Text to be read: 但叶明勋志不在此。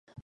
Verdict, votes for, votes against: rejected, 0, 5